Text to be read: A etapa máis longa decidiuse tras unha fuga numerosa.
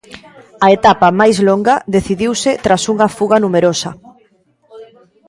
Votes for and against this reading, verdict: 2, 0, accepted